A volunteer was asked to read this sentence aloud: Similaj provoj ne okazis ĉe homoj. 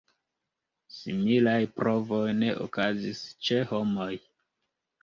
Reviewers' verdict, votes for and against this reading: accepted, 2, 0